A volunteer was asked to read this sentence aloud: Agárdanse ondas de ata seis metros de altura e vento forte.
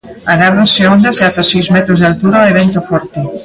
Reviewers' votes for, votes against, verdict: 2, 0, accepted